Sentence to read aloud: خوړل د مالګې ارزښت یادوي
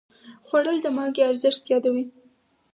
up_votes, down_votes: 2, 4